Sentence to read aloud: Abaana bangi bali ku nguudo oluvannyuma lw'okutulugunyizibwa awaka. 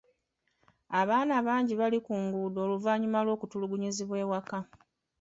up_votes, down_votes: 2, 0